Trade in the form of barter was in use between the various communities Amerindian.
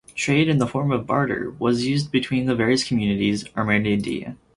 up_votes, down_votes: 4, 0